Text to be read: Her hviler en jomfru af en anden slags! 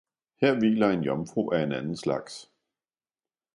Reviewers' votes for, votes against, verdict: 2, 0, accepted